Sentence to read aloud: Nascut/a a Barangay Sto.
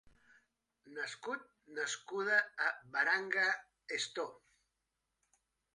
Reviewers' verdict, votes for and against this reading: rejected, 0, 2